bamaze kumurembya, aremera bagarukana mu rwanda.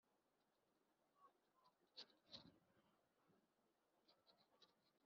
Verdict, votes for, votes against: rejected, 1, 2